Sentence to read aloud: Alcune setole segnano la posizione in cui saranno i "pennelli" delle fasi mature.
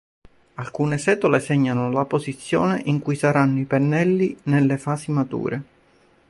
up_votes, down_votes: 1, 3